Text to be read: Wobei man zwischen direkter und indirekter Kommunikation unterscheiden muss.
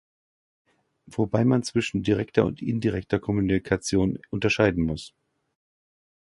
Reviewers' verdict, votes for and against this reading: rejected, 0, 2